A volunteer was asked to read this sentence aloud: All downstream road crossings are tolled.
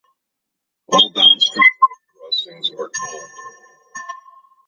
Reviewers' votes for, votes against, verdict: 0, 2, rejected